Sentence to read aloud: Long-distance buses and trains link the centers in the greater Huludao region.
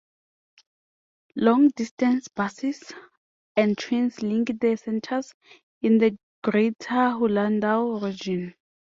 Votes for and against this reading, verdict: 2, 1, accepted